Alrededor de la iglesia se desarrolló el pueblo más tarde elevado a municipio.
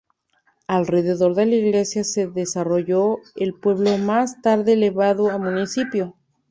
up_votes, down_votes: 2, 0